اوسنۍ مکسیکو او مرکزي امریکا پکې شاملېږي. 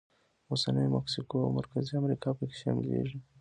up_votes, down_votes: 2, 1